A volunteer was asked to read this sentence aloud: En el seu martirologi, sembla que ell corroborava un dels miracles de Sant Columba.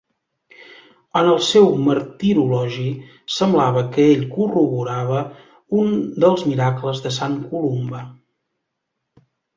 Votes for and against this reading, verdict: 0, 2, rejected